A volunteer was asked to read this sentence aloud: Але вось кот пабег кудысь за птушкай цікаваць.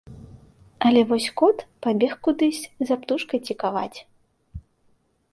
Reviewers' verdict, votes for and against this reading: accepted, 2, 0